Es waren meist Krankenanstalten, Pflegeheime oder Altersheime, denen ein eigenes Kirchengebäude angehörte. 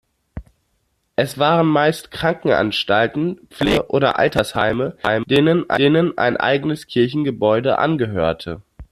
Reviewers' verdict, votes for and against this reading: rejected, 0, 2